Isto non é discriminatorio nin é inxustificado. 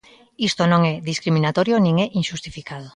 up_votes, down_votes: 2, 0